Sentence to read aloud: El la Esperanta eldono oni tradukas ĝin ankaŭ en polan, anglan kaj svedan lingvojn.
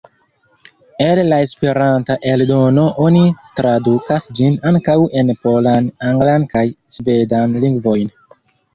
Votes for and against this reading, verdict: 1, 2, rejected